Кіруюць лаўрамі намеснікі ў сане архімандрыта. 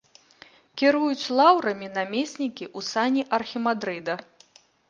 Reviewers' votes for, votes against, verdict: 1, 2, rejected